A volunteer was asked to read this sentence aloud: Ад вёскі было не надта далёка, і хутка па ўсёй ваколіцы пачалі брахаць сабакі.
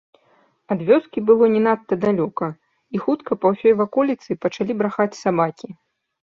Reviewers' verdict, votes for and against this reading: accepted, 2, 0